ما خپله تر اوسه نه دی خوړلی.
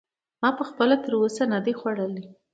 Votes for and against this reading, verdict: 2, 0, accepted